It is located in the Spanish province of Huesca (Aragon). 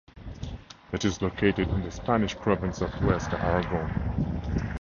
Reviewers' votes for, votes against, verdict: 4, 0, accepted